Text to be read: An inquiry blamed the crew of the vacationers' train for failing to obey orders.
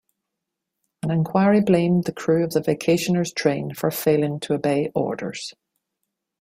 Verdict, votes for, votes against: accepted, 2, 0